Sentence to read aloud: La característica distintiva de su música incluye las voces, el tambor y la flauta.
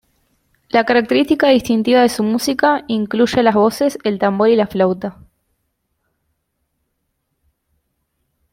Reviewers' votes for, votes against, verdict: 2, 0, accepted